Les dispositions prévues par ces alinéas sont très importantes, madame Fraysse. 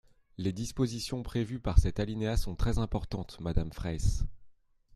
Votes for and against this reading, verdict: 0, 2, rejected